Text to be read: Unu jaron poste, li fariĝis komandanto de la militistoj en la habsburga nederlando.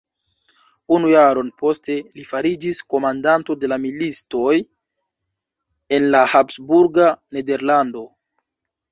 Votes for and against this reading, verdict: 1, 2, rejected